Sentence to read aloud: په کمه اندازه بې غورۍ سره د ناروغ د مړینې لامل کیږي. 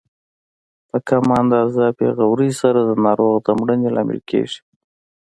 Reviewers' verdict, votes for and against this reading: accepted, 2, 0